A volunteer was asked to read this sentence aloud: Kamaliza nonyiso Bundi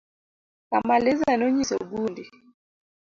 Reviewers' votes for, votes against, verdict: 2, 0, accepted